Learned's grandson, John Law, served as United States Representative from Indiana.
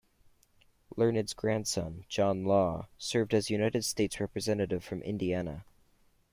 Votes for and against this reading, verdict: 2, 0, accepted